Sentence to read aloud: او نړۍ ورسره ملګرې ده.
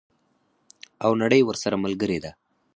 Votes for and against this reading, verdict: 0, 4, rejected